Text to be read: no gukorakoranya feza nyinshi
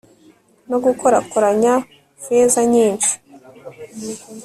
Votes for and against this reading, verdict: 1, 2, rejected